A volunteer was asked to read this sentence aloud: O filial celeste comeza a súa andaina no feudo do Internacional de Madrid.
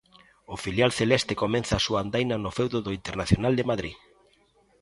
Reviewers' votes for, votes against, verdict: 0, 2, rejected